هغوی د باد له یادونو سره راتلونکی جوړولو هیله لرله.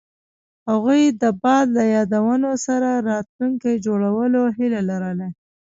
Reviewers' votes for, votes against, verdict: 1, 2, rejected